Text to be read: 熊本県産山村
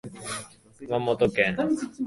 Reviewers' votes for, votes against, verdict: 0, 2, rejected